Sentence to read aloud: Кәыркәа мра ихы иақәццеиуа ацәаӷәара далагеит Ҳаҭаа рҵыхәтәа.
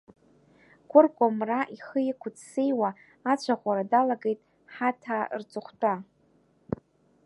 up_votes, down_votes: 0, 2